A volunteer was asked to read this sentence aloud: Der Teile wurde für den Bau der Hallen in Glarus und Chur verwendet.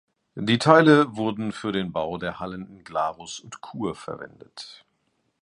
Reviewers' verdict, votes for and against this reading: rejected, 1, 2